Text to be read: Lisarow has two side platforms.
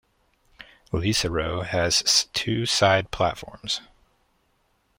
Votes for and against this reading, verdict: 1, 2, rejected